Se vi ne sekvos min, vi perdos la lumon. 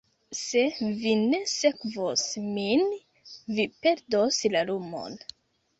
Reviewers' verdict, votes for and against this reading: rejected, 1, 2